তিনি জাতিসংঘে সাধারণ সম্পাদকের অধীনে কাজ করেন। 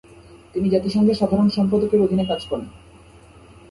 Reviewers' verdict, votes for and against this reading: accepted, 2, 0